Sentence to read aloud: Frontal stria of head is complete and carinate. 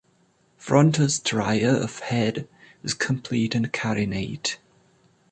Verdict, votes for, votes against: accepted, 2, 0